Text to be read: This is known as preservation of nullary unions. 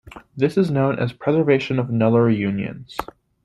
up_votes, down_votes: 2, 0